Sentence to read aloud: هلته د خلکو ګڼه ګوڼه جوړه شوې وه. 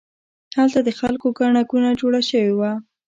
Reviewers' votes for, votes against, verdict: 2, 0, accepted